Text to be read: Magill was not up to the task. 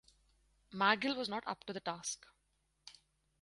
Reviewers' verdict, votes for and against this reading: accepted, 4, 0